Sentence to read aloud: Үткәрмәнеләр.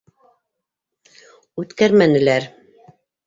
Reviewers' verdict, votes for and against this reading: accepted, 2, 0